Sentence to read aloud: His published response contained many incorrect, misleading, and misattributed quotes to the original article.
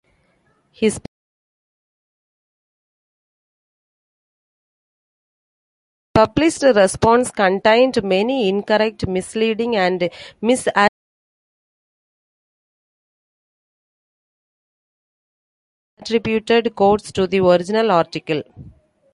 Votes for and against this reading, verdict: 0, 2, rejected